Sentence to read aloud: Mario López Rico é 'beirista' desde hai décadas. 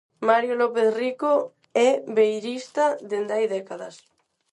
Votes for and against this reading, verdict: 0, 4, rejected